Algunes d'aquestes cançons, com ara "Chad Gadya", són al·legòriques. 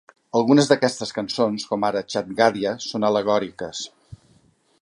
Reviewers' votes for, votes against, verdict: 2, 0, accepted